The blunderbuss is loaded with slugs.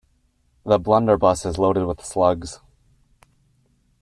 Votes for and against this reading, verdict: 2, 0, accepted